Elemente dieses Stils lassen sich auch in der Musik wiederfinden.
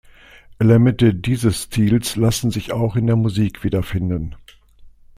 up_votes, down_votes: 2, 0